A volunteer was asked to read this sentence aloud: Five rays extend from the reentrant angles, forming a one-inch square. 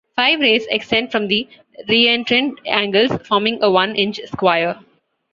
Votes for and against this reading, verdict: 2, 0, accepted